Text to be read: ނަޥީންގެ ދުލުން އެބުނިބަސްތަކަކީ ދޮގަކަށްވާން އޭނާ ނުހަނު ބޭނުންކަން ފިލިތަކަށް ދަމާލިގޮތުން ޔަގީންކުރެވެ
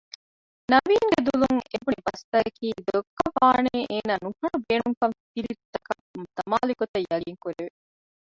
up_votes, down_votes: 0, 2